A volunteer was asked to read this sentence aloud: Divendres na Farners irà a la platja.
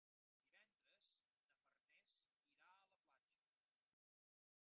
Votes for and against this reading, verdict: 1, 2, rejected